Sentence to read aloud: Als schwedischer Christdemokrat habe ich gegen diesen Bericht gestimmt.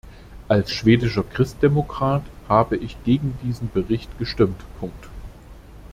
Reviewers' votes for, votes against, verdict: 0, 2, rejected